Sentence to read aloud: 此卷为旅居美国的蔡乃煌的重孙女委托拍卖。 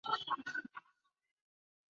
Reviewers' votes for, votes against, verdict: 2, 4, rejected